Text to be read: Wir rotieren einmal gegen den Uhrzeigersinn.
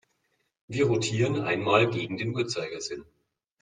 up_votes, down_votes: 2, 0